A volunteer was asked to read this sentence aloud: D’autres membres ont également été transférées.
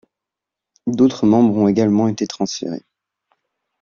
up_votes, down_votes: 2, 0